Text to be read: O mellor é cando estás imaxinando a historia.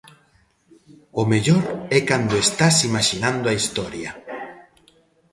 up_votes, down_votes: 2, 0